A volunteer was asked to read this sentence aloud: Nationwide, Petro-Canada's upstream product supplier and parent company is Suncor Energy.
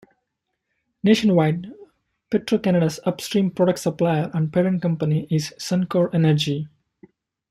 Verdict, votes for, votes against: accepted, 2, 0